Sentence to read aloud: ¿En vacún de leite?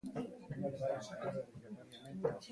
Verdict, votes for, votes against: rejected, 0, 3